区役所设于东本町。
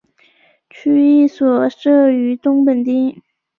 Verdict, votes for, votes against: accepted, 5, 3